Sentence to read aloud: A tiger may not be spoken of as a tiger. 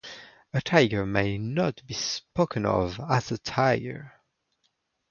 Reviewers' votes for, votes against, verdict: 2, 0, accepted